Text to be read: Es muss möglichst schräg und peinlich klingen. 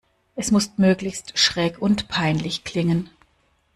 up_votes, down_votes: 2, 1